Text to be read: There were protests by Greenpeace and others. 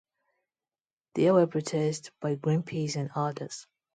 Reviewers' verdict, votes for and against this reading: accepted, 2, 0